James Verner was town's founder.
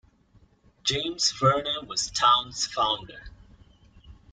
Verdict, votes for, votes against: accepted, 2, 0